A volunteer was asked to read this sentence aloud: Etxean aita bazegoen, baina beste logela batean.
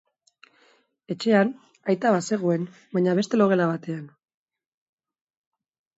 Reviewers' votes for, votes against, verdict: 2, 0, accepted